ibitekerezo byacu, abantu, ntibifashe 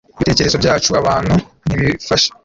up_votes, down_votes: 1, 2